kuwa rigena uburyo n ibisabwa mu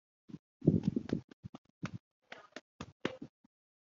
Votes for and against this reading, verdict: 0, 2, rejected